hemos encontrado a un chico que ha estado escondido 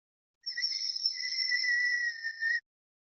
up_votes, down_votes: 0, 2